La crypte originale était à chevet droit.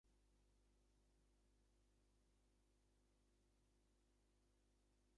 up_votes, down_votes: 0, 2